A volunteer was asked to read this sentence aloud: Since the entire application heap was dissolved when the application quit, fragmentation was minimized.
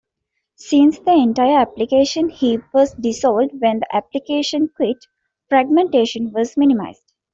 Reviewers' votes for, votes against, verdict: 2, 0, accepted